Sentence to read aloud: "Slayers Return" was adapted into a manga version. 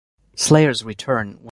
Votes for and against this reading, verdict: 1, 2, rejected